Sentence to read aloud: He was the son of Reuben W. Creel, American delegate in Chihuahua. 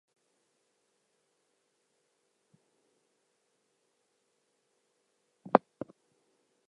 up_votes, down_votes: 0, 4